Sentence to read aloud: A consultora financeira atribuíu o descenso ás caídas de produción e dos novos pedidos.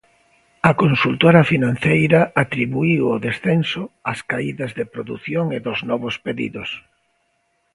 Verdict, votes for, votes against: accepted, 2, 0